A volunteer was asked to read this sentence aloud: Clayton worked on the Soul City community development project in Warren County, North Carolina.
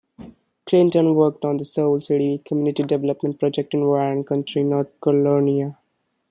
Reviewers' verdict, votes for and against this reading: rejected, 0, 2